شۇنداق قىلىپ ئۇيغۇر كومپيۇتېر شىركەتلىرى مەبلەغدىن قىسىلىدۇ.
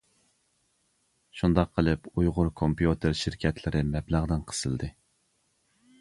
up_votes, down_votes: 0, 2